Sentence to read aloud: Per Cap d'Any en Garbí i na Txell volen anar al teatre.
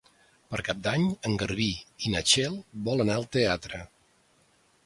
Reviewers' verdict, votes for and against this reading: rejected, 1, 2